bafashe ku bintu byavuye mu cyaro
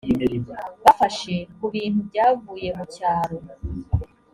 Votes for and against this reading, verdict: 3, 0, accepted